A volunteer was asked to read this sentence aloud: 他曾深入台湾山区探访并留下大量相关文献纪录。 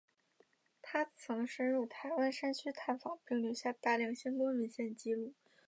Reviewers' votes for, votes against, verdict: 2, 1, accepted